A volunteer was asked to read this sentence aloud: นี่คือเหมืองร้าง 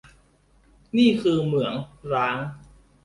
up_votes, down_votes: 0, 2